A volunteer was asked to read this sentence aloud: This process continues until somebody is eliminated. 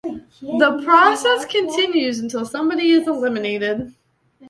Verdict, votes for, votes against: rejected, 1, 2